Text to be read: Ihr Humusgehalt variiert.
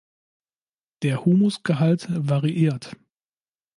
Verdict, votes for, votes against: rejected, 0, 2